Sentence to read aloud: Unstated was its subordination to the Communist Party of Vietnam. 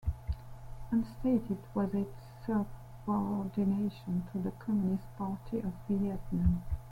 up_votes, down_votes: 0, 2